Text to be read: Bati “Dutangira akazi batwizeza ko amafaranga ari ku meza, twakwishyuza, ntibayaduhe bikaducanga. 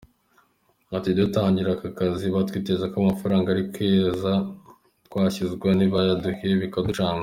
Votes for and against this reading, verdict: 2, 0, accepted